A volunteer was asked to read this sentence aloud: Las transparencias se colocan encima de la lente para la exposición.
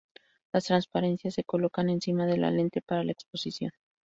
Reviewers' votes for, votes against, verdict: 2, 0, accepted